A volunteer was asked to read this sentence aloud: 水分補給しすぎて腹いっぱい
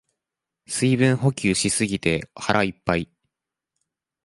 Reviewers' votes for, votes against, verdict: 2, 0, accepted